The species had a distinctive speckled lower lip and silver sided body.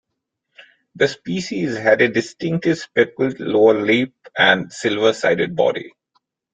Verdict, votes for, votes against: accepted, 2, 0